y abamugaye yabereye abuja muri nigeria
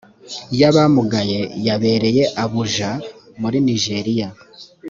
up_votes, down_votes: 1, 2